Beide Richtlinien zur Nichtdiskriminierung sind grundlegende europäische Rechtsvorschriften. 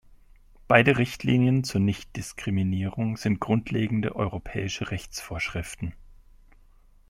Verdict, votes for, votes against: accepted, 2, 0